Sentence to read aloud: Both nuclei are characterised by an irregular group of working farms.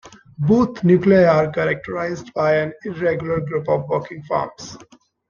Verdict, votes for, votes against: accepted, 2, 1